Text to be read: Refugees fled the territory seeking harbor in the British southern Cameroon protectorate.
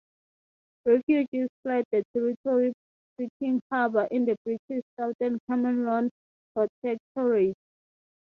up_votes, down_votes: 6, 3